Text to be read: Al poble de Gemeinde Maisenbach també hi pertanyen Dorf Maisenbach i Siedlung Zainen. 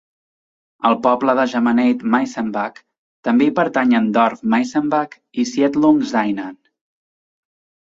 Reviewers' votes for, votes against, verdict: 1, 2, rejected